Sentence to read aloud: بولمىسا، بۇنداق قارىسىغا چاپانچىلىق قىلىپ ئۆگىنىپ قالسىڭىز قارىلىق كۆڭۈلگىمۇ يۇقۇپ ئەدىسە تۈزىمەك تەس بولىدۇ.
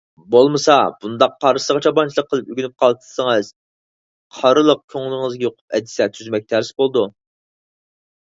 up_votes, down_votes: 0, 4